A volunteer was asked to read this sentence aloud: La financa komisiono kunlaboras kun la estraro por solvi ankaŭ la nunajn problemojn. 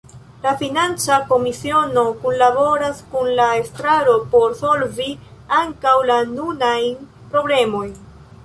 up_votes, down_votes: 2, 0